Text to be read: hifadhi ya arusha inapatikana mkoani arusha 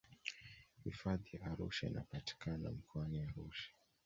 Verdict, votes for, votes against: accepted, 2, 1